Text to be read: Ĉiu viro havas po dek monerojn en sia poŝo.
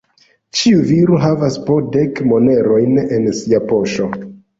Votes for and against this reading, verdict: 0, 2, rejected